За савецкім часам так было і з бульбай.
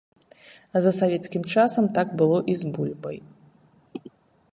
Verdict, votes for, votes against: accepted, 2, 0